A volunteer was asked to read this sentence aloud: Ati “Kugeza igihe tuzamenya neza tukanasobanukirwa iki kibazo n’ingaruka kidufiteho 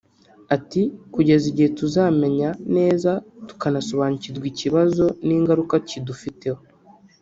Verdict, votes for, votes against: rejected, 0, 2